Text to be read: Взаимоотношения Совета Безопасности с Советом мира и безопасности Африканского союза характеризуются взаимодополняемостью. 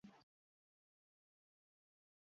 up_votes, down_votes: 0, 2